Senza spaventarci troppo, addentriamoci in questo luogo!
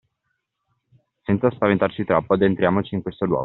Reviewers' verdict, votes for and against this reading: accepted, 2, 1